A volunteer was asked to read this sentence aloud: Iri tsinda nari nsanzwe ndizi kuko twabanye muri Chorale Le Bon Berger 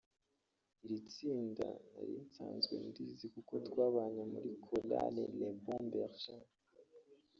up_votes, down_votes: 2, 0